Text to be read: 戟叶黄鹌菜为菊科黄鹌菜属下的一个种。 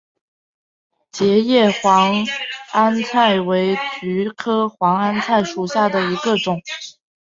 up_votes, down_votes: 3, 0